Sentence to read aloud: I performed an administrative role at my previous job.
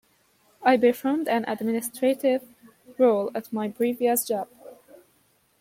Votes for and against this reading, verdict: 2, 0, accepted